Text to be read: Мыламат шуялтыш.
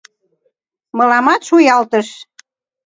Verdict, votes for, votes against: accepted, 2, 0